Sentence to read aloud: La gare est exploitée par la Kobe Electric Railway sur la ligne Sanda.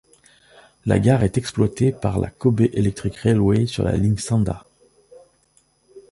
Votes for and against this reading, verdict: 2, 0, accepted